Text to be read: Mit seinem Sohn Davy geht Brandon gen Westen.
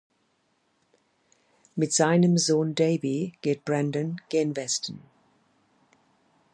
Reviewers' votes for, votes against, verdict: 0, 2, rejected